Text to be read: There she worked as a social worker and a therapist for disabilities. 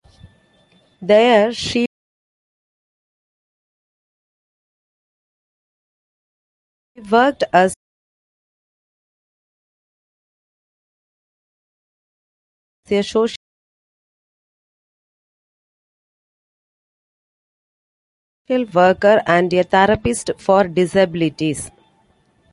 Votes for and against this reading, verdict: 0, 2, rejected